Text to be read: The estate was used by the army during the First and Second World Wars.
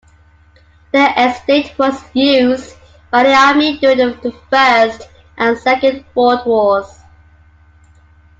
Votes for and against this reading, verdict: 2, 0, accepted